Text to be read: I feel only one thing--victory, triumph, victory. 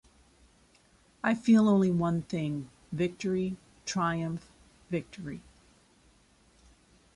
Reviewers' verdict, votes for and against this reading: accepted, 2, 1